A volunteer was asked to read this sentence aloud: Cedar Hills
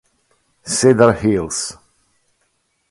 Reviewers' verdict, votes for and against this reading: accepted, 2, 0